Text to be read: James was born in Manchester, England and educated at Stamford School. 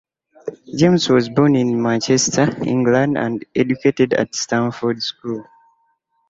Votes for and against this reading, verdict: 2, 0, accepted